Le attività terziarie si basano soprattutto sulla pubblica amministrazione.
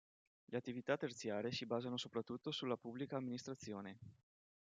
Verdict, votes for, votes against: accepted, 2, 0